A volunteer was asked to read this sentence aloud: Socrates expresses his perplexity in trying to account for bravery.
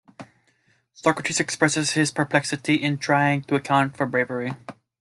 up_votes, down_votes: 1, 2